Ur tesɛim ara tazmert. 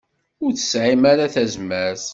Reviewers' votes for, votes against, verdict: 2, 0, accepted